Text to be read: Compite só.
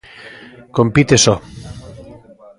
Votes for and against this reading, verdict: 2, 0, accepted